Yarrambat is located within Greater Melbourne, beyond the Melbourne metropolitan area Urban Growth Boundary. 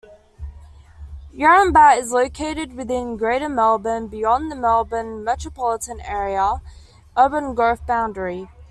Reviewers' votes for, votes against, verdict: 2, 0, accepted